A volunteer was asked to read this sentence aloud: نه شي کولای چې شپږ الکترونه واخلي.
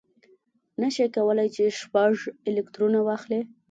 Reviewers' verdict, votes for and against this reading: accepted, 2, 0